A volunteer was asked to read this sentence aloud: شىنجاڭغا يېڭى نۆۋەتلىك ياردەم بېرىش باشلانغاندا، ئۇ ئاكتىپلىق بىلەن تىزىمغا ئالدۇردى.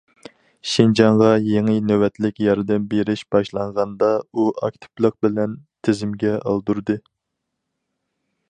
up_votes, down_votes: 2, 2